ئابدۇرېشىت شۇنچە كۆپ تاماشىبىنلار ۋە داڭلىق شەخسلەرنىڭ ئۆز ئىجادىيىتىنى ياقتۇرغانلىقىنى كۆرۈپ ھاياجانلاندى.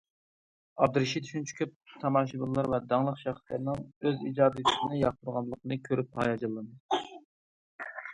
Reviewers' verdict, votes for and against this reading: rejected, 0, 2